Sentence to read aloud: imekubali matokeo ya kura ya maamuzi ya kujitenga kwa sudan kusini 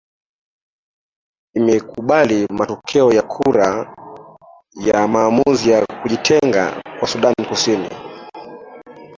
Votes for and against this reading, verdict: 1, 2, rejected